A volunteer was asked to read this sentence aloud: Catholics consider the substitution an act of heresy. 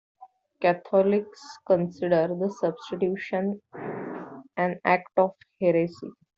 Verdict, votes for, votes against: accepted, 2, 1